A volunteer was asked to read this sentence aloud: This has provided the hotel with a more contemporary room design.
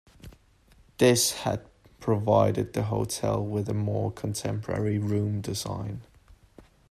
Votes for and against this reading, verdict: 0, 2, rejected